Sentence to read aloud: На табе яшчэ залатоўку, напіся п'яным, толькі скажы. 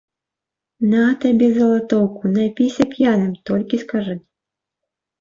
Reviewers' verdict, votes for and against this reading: accepted, 2, 0